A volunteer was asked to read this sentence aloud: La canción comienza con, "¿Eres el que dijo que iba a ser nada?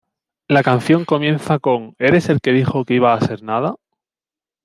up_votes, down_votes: 2, 0